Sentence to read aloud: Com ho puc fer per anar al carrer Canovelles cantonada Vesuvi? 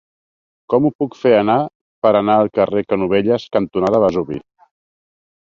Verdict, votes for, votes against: rejected, 2, 3